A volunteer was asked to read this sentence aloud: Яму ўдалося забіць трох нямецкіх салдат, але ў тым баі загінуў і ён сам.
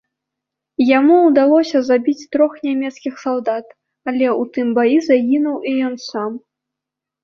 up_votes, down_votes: 1, 2